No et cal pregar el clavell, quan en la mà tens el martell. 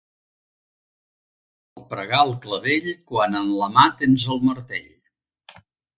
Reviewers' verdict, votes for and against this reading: rejected, 1, 2